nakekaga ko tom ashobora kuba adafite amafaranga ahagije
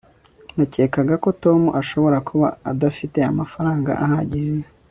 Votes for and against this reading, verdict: 2, 0, accepted